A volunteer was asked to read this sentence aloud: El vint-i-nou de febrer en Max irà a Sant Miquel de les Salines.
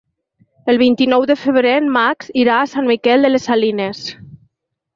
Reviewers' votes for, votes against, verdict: 4, 0, accepted